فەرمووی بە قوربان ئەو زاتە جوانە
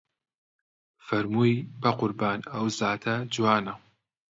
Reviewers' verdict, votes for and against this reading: accepted, 2, 0